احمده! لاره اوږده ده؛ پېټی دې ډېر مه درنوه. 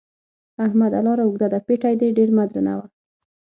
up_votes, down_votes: 6, 0